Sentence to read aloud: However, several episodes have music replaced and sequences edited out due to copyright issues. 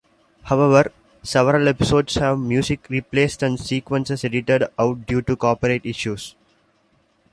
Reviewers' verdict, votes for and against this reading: rejected, 1, 2